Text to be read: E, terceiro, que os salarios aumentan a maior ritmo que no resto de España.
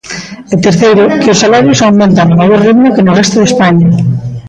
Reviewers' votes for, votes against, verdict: 2, 0, accepted